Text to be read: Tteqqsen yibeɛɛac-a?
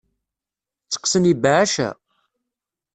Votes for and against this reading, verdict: 2, 3, rejected